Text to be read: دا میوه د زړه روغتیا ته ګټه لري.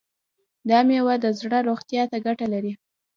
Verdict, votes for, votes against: accepted, 2, 0